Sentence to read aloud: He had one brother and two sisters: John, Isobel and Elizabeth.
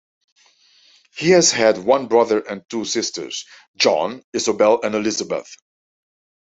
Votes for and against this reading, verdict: 0, 2, rejected